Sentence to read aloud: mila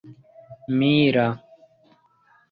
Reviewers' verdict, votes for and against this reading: rejected, 1, 2